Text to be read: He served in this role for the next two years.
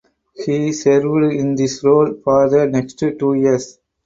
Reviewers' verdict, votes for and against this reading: rejected, 0, 4